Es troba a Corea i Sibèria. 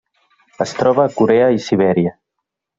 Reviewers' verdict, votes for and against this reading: accepted, 3, 0